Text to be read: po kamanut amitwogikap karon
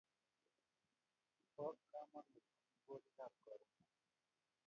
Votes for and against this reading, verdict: 0, 2, rejected